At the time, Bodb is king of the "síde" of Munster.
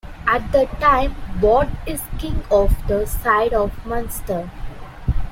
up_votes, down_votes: 0, 2